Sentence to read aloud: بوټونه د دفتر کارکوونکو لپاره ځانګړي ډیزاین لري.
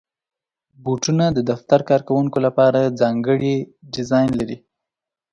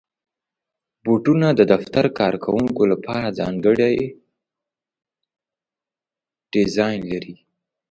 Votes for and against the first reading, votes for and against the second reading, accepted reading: 2, 0, 0, 2, first